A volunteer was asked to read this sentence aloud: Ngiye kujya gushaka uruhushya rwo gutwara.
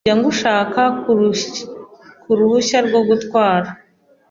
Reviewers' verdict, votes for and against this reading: rejected, 0, 2